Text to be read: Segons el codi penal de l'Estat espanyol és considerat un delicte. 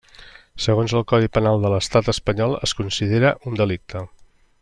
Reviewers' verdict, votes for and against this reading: rejected, 1, 2